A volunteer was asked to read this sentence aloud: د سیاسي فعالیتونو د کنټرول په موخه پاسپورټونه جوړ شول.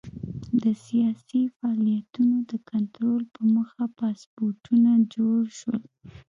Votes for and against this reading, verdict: 1, 2, rejected